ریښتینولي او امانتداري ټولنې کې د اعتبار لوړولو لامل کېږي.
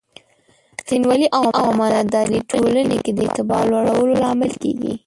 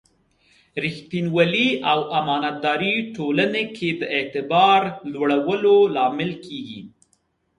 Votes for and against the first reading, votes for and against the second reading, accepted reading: 0, 2, 5, 0, second